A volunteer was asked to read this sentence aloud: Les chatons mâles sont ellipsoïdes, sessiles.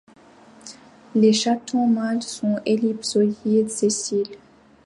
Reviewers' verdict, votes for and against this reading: accepted, 2, 0